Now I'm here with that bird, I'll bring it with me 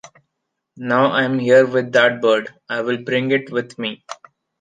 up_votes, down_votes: 2, 0